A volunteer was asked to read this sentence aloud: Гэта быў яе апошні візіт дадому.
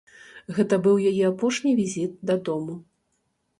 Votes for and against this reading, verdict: 2, 0, accepted